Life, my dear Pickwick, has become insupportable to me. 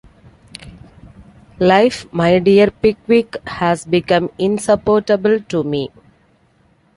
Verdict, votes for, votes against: accepted, 2, 0